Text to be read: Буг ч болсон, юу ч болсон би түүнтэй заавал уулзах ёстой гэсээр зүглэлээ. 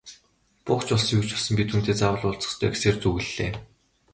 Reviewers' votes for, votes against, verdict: 7, 0, accepted